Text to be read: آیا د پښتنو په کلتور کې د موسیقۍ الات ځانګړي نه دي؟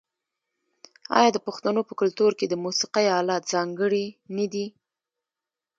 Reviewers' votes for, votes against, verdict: 2, 1, accepted